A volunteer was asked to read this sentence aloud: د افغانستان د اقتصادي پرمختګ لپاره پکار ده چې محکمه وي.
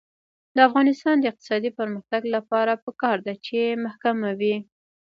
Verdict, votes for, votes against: rejected, 1, 2